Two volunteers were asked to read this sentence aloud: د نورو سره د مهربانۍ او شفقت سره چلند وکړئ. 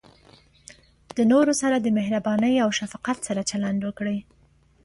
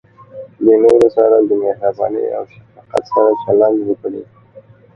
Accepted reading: first